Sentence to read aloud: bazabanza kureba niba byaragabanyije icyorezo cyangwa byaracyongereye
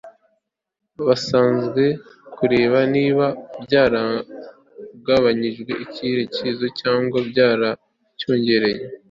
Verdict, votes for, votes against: rejected, 0, 2